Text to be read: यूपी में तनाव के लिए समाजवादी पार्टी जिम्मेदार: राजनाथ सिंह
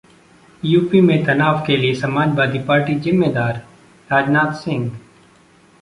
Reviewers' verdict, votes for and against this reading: accepted, 2, 0